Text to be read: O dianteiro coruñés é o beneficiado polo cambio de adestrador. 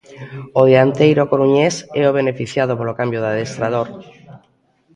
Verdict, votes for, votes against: rejected, 0, 2